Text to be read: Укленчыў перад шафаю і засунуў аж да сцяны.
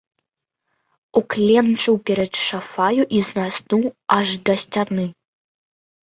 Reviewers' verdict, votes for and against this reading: rejected, 0, 2